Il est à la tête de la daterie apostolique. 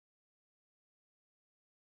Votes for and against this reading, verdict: 0, 2, rejected